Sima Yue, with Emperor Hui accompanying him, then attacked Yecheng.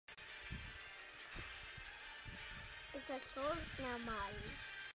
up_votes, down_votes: 0, 2